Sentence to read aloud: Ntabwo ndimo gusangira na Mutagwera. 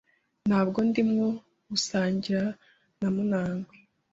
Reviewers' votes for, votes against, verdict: 1, 4, rejected